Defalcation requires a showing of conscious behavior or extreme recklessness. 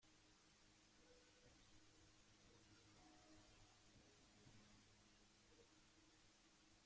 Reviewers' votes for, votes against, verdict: 0, 2, rejected